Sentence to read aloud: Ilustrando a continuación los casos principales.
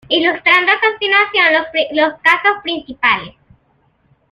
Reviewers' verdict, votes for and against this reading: rejected, 0, 2